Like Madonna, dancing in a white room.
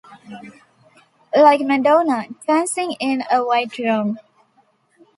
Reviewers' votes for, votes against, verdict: 3, 0, accepted